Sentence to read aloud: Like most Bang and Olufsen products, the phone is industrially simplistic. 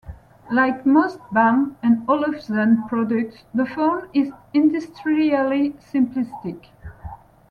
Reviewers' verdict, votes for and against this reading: rejected, 1, 2